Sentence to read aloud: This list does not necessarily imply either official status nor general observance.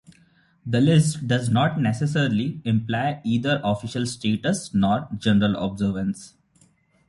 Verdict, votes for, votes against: accepted, 2, 0